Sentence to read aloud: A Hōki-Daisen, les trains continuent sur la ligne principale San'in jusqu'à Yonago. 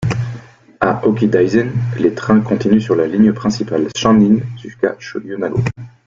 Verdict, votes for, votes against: rejected, 0, 2